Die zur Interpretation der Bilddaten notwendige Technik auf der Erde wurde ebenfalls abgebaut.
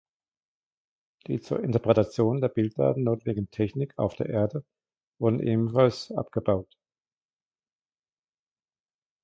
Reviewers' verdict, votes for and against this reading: rejected, 1, 2